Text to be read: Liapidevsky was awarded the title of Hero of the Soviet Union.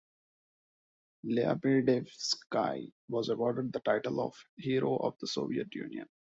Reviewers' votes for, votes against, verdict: 0, 2, rejected